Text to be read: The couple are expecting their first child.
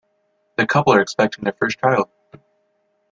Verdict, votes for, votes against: accepted, 3, 1